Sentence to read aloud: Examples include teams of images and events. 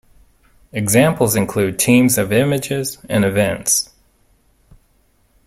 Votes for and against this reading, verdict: 2, 0, accepted